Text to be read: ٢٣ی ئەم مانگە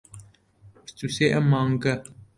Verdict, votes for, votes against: rejected, 0, 2